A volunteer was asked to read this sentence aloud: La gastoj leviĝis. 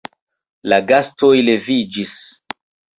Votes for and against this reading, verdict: 2, 1, accepted